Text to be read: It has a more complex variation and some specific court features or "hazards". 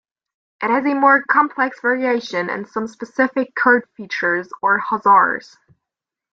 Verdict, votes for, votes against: rejected, 0, 2